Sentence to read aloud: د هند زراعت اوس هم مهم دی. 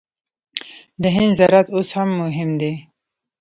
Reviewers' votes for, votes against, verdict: 1, 2, rejected